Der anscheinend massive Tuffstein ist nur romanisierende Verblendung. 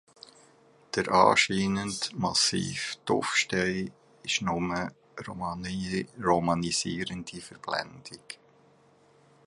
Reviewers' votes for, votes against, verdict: 0, 2, rejected